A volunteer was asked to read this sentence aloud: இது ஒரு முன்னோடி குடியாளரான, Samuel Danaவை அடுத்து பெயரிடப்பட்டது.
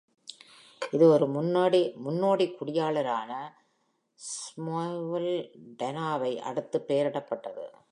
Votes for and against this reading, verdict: 0, 2, rejected